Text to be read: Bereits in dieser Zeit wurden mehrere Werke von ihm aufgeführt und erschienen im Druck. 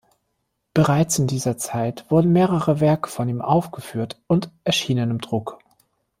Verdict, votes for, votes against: accepted, 2, 0